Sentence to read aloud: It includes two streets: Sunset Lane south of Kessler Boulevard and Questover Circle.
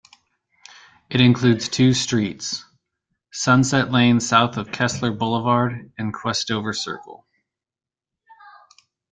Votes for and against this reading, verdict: 2, 0, accepted